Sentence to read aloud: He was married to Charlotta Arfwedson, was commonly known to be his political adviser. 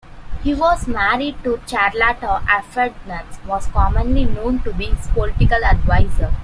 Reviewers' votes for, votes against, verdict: 2, 1, accepted